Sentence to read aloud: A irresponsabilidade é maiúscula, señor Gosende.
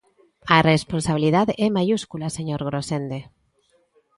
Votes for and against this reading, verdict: 0, 2, rejected